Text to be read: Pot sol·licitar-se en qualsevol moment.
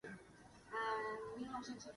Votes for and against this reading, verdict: 0, 2, rejected